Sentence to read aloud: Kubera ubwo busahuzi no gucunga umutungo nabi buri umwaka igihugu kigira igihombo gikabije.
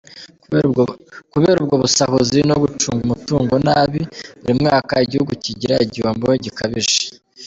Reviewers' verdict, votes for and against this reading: rejected, 0, 2